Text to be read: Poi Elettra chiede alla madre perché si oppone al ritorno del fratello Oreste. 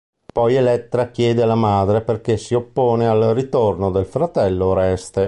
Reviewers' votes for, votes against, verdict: 2, 0, accepted